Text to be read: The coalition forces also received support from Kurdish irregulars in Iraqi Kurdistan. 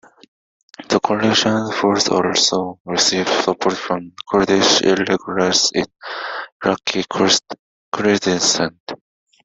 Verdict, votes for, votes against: rejected, 1, 2